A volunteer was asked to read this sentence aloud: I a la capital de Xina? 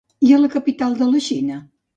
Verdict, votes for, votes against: rejected, 0, 2